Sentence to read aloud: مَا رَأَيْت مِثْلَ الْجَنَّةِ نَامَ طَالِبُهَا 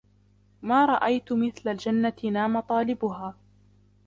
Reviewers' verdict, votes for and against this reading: rejected, 0, 2